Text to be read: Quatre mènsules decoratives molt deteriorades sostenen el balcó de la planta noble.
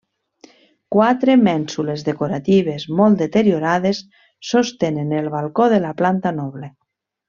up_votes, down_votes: 3, 0